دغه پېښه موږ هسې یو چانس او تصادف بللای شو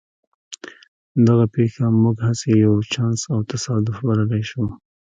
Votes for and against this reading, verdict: 1, 2, rejected